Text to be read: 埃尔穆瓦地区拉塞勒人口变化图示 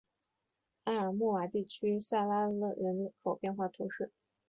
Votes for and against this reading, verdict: 4, 3, accepted